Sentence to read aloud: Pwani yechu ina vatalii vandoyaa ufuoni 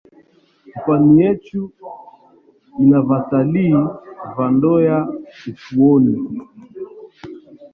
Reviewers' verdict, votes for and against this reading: rejected, 1, 4